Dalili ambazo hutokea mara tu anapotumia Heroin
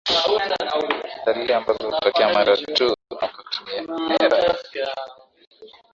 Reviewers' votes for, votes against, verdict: 0, 3, rejected